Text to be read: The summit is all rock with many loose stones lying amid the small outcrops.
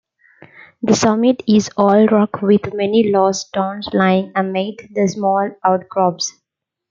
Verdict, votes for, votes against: accepted, 2, 1